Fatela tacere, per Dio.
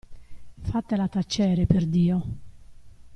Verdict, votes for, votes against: accepted, 2, 0